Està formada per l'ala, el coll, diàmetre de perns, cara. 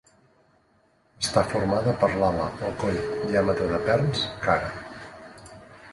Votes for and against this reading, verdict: 2, 1, accepted